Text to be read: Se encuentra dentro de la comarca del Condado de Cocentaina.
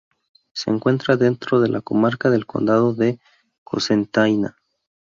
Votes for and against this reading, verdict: 0, 2, rejected